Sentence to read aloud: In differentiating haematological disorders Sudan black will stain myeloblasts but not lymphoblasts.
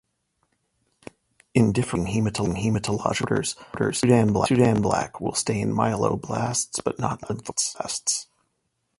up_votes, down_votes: 1, 2